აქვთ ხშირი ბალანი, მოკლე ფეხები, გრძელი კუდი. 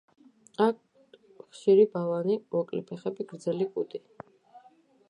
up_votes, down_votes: 2, 1